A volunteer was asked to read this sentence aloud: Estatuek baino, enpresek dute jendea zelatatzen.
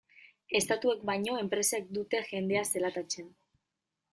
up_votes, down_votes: 0, 2